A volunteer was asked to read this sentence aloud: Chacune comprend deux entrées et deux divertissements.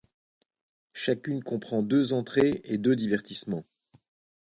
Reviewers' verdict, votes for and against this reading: accepted, 2, 0